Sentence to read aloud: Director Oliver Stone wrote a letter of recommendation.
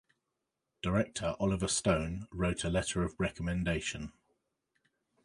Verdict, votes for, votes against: accepted, 2, 0